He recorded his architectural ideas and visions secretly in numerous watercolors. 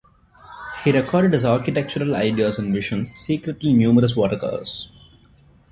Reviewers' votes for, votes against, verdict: 2, 0, accepted